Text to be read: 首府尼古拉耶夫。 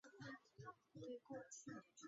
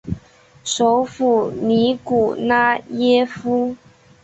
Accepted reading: second